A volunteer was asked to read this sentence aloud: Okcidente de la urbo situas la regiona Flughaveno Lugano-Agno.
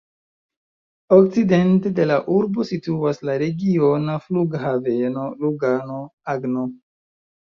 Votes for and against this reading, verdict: 2, 1, accepted